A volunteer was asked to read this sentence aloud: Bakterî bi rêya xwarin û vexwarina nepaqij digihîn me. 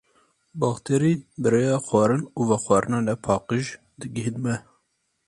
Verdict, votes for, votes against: accepted, 4, 0